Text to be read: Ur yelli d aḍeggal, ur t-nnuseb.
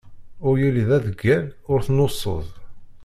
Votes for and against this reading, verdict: 0, 2, rejected